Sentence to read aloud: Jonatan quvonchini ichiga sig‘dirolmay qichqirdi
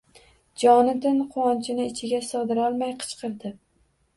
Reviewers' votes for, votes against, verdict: 2, 0, accepted